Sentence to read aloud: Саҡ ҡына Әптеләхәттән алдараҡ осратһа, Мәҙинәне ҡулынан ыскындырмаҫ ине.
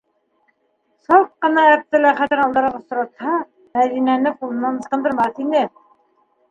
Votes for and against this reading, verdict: 1, 2, rejected